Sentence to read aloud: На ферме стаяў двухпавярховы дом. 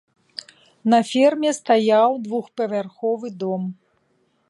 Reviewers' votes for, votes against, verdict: 3, 0, accepted